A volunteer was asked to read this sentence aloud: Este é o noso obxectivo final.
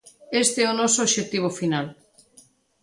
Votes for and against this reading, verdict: 2, 0, accepted